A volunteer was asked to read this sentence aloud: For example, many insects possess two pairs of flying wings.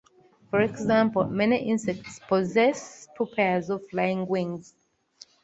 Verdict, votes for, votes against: accepted, 2, 0